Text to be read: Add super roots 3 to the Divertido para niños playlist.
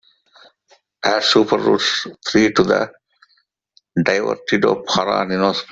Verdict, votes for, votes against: rejected, 0, 2